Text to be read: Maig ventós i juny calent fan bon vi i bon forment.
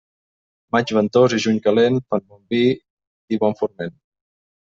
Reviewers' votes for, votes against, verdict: 2, 0, accepted